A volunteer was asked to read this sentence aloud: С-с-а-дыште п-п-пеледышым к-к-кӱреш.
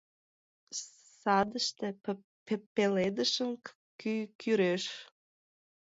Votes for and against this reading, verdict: 1, 2, rejected